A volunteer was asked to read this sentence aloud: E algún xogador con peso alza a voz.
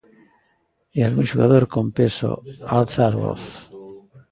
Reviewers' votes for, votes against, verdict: 1, 2, rejected